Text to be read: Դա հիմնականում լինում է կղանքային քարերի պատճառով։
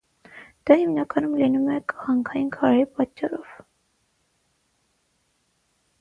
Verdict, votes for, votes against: rejected, 3, 3